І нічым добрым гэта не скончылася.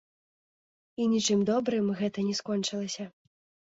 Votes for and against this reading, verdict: 0, 2, rejected